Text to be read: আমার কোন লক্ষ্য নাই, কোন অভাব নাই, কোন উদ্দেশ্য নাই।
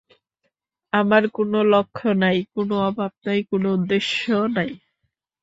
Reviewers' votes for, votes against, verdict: 3, 0, accepted